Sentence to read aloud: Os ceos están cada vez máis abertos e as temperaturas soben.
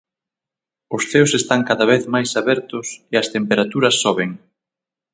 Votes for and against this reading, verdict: 3, 6, rejected